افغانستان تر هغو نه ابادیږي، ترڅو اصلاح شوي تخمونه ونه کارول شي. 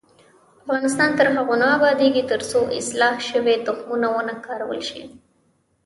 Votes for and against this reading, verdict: 0, 2, rejected